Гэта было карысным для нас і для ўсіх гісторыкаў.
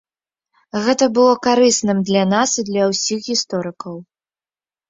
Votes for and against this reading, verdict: 3, 0, accepted